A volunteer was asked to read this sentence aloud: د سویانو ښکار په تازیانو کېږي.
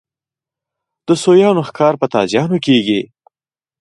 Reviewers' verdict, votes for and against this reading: accepted, 2, 1